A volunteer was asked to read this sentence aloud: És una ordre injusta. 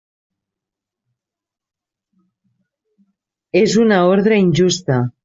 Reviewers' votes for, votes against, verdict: 3, 0, accepted